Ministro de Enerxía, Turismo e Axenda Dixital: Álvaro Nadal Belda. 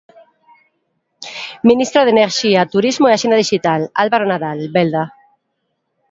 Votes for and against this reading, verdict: 2, 0, accepted